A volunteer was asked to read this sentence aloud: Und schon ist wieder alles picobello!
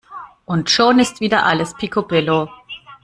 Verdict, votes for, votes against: rejected, 1, 2